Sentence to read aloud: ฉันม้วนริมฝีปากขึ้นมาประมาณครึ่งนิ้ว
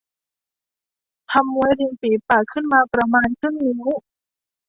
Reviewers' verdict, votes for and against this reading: rejected, 0, 2